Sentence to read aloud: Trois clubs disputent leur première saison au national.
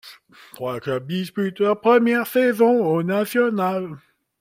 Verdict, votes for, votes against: rejected, 0, 2